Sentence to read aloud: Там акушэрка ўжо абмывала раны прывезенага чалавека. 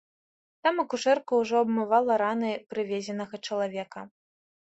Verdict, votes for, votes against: accepted, 2, 0